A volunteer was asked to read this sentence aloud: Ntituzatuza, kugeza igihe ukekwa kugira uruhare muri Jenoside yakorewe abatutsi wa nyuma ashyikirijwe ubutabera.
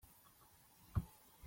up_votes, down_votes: 0, 2